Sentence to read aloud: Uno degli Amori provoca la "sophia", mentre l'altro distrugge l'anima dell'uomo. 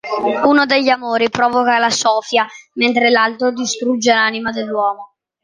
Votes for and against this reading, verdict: 2, 0, accepted